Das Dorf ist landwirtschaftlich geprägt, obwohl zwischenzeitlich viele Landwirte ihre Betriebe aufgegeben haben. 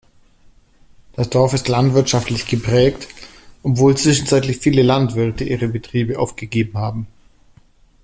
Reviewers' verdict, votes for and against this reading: accepted, 2, 1